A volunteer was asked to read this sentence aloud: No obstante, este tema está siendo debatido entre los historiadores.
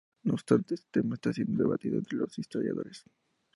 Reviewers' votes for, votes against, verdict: 2, 0, accepted